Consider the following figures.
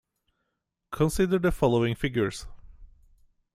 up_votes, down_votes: 2, 0